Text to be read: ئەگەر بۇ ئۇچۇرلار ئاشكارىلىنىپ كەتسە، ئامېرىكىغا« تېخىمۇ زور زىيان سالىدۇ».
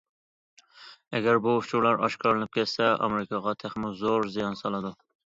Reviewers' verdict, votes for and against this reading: accepted, 2, 0